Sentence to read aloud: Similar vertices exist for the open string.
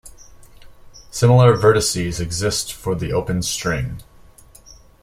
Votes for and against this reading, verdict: 2, 0, accepted